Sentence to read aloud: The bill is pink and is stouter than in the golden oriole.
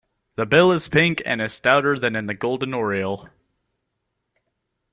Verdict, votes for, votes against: accepted, 2, 0